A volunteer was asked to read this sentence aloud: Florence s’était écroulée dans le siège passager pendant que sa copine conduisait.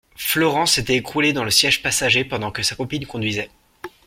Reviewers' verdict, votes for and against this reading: accepted, 2, 0